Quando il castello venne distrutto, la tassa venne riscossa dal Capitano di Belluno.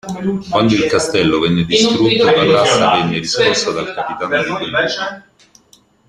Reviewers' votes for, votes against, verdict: 1, 2, rejected